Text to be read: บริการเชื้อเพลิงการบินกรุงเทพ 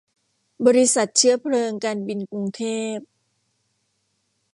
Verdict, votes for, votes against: rejected, 1, 2